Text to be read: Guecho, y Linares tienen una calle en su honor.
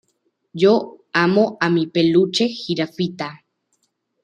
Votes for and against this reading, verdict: 0, 2, rejected